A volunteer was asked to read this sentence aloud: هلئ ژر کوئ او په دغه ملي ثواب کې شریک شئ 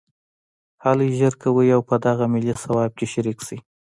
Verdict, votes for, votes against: rejected, 0, 2